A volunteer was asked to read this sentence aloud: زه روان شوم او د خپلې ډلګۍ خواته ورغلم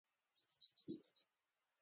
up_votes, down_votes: 2, 0